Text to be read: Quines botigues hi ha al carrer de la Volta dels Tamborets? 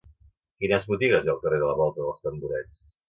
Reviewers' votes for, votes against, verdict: 2, 0, accepted